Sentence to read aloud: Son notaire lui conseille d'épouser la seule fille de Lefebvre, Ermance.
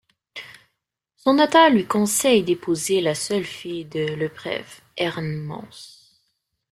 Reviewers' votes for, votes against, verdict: 0, 2, rejected